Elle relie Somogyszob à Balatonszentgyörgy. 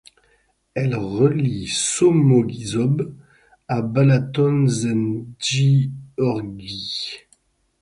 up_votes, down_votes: 0, 6